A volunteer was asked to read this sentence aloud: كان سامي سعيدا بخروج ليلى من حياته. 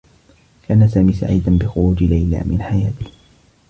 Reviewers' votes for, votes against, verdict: 2, 0, accepted